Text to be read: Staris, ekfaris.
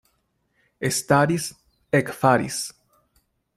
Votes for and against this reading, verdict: 0, 2, rejected